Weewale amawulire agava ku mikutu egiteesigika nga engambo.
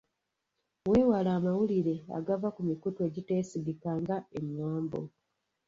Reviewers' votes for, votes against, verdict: 2, 1, accepted